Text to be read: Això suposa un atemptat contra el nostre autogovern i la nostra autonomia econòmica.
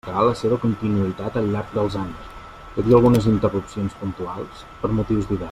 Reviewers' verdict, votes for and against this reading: rejected, 0, 2